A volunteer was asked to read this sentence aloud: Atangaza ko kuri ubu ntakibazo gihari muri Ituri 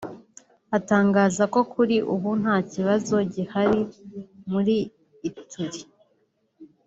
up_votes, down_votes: 2, 0